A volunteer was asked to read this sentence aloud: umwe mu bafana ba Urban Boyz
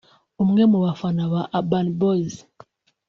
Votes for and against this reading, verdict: 2, 0, accepted